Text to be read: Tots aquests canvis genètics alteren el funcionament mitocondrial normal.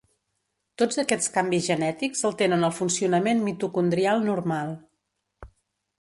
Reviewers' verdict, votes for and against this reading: accepted, 2, 0